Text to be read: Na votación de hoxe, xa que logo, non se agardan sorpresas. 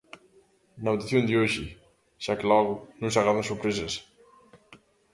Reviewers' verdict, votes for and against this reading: accepted, 2, 1